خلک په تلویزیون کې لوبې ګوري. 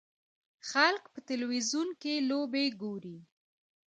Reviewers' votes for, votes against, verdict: 2, 0, accepted